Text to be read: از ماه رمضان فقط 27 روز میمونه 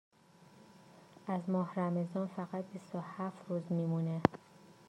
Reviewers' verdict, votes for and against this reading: rejected, 0, 2